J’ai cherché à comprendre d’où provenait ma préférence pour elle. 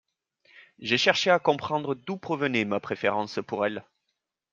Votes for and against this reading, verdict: 2, 0, accepted